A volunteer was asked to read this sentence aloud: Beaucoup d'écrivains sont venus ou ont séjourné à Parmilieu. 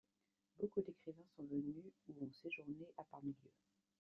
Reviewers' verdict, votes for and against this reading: accepted, 2, 0